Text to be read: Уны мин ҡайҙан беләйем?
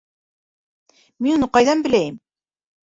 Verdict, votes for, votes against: rejected, 0, 2